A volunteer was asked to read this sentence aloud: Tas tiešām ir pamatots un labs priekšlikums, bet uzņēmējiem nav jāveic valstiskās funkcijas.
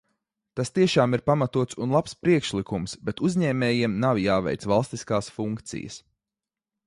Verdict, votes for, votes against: accepted, 2, 0